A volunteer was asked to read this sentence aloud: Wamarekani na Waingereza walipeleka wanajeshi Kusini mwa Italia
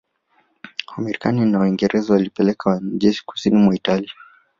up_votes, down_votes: 0, 2